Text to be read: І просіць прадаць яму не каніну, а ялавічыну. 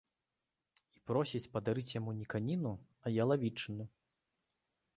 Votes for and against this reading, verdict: 1, 2, rejected